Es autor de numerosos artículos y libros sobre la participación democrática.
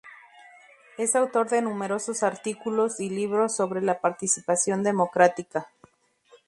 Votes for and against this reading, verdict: 2, 0, accepted